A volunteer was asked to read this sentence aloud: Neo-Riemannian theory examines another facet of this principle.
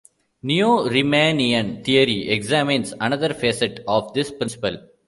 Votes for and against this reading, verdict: 2, 0, accepted